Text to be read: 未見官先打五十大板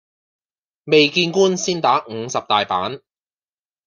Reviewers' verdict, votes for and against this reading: accepted, 2, 0